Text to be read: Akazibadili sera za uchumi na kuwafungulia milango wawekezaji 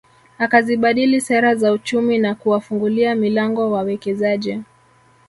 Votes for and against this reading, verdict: 2, 3, rejected